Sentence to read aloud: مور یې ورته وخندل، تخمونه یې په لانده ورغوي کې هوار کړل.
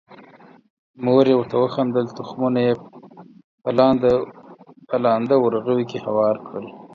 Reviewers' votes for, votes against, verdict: 0, 4, rejected